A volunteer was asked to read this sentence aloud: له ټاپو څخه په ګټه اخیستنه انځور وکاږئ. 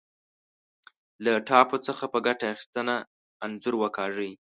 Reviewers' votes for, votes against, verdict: 0, 2, rejected